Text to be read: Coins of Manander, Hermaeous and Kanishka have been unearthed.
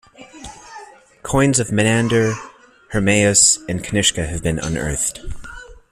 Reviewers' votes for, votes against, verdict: 2, 0, accepted